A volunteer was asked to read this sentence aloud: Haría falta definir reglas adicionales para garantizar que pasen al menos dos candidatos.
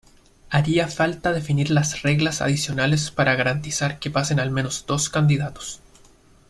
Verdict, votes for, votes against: rejected, 0, 2